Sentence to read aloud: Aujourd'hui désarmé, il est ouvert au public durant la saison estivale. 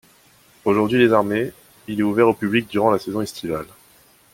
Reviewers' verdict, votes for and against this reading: accepted, 2, 0